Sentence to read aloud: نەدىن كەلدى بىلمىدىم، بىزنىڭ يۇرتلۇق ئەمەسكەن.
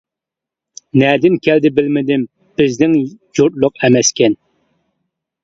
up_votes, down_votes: 2, 0